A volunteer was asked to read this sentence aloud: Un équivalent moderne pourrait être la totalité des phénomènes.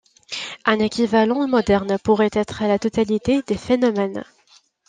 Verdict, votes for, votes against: accepted, 2, 0